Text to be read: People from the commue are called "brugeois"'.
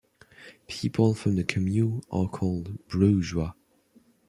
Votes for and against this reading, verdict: 0, 2, rejected